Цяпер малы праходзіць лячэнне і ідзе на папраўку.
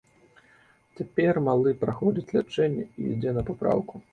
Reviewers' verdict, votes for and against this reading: accepted, 2, 0